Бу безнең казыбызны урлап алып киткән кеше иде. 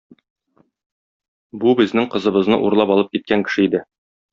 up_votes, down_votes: 0, 2